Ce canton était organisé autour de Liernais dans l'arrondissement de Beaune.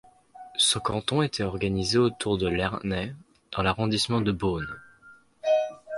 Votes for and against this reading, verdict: 0, 2, rejected